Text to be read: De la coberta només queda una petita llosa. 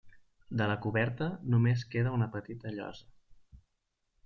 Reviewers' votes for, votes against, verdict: 3, 0, accepted